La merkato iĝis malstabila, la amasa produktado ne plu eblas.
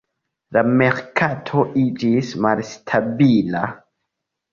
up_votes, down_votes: 1, 2